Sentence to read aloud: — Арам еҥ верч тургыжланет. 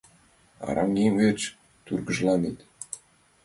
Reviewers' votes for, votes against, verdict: 3, 0, accepted